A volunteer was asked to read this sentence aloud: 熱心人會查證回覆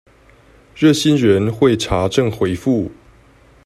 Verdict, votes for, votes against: accepted, 2, 0